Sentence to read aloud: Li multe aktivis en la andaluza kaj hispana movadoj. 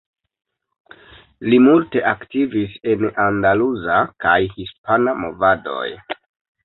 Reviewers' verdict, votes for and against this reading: accepted, 2, 1